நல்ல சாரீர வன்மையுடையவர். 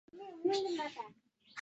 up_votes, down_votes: 1, 3